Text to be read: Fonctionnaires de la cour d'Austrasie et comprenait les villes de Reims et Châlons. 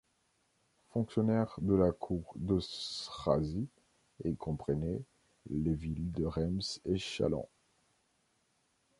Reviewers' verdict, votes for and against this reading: rejected, 1, 2